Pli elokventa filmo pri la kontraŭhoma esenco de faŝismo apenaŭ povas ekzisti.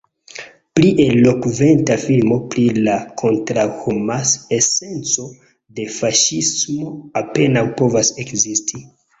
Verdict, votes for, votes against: accepted, 2, 0